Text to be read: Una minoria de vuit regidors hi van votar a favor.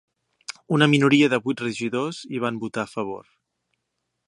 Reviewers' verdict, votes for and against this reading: accepted, 3, 0